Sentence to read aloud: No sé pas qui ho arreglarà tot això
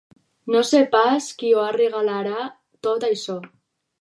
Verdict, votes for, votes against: rejected, 4, 6